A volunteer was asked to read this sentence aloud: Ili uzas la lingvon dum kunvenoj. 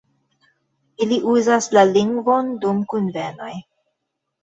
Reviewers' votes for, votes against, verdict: 1, 2, rejected